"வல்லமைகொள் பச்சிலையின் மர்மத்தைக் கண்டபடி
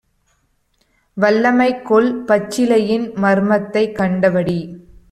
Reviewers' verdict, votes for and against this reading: accepted, 2, 1